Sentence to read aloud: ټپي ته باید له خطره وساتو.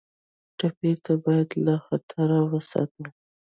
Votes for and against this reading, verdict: 1, 2, rejected